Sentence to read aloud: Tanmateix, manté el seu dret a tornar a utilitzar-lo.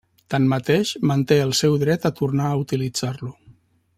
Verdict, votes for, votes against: accepted, 3, 0